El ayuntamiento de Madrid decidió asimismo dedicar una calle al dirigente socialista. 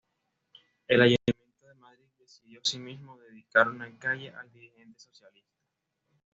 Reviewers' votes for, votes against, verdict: 2, 0, accepted